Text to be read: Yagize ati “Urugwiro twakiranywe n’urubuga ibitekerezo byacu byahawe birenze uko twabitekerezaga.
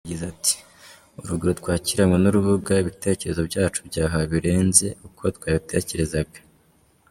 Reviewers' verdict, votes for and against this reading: rejected, 1, 2